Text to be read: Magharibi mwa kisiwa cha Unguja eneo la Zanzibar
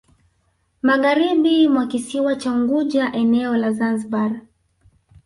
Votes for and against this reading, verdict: 0, 2, rejected